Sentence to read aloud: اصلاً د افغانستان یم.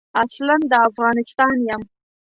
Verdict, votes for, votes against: accepted, 2, 0